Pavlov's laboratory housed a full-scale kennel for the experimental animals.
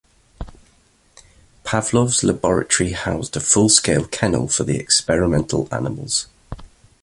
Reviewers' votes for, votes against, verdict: 2, 0, accepted